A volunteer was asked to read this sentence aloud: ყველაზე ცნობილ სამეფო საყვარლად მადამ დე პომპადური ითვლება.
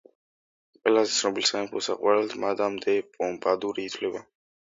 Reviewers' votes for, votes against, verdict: 1, 2, rejected